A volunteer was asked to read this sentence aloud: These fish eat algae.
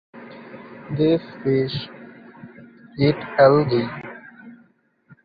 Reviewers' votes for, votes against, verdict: 2, 1, accepted